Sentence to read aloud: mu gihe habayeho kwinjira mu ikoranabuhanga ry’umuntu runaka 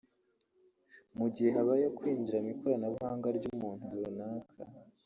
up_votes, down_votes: 1, 2